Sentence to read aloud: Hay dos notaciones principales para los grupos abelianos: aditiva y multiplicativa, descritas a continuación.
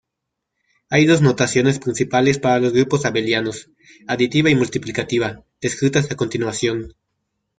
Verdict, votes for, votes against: rejected, 1, 2